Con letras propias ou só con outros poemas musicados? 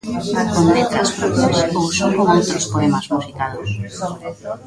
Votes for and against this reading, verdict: 0, 3, rejected